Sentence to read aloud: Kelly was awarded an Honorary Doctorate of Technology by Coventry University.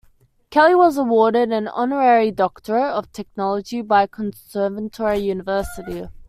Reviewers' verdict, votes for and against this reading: rejected, 1, 2